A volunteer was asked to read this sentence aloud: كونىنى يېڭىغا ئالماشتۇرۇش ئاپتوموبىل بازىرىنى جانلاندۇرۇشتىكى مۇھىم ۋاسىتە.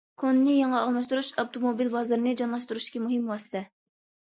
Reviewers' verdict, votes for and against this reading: rejected, 1, 2